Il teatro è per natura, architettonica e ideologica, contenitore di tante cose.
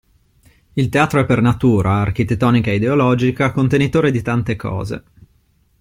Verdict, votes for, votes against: accepted, 2, 0